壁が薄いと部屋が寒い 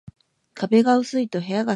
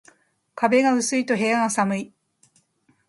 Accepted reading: second